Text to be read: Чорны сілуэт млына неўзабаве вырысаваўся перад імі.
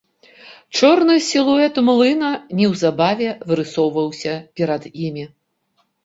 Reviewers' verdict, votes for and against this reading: rejected, 0, 2